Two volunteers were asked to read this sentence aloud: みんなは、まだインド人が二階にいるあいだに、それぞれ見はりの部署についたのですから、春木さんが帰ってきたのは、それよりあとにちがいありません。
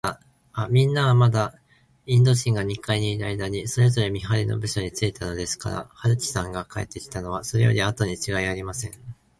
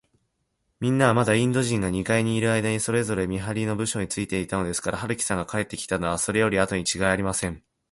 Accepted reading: first